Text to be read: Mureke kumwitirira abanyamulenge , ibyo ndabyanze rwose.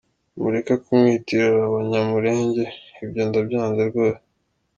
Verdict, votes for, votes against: accepted, 2, 0